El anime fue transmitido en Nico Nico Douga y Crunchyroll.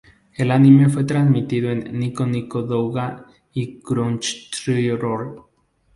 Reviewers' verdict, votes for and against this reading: rejected, 0, 4